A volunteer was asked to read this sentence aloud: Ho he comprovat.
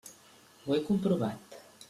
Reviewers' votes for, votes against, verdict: 3, 0, accepted